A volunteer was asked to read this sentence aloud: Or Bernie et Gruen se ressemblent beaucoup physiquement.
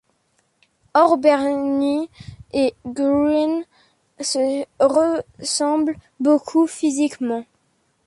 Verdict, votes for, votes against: accepted, 2, 1